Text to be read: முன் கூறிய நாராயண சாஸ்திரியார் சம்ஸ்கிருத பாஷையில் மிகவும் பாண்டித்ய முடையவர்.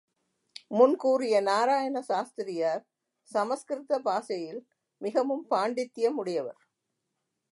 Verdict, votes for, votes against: accepted, 3, 0